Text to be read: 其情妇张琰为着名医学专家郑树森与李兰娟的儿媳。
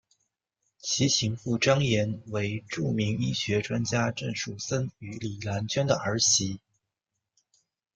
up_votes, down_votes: 1, 2